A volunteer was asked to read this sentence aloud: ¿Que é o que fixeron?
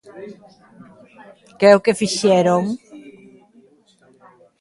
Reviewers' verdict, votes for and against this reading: rejected, 0, 2